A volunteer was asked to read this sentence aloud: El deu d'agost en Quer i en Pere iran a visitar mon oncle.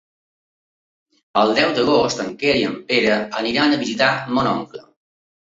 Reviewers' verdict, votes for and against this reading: rejected, 1, 2